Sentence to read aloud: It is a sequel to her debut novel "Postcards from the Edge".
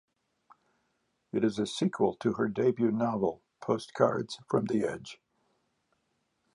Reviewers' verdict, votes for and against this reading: accepted, 2, 0